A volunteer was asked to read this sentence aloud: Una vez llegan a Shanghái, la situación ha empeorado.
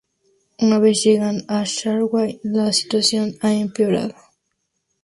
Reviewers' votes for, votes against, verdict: 0, 2, rejected